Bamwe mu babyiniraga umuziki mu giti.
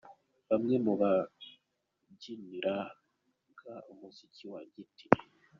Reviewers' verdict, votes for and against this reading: rejected, 0, 2